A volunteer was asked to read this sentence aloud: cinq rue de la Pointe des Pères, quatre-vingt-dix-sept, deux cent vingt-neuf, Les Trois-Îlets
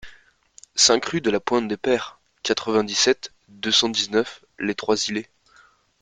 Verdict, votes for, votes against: rejected, 1, 2